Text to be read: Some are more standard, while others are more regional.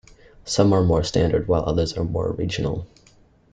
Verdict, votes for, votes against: accepted, 2, 0